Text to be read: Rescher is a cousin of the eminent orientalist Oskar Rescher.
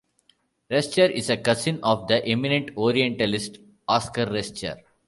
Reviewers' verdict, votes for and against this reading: accepted, 2, 0